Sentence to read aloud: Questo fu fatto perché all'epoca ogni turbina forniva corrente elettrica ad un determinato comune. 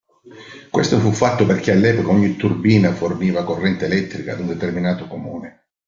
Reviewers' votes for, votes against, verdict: 2, 0, accepted